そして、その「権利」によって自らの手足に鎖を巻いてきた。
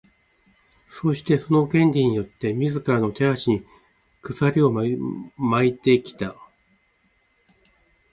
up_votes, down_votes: 2, 0